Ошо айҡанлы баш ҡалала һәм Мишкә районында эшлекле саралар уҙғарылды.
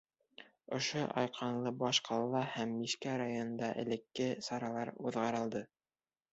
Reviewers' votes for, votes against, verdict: 0, 2, rejected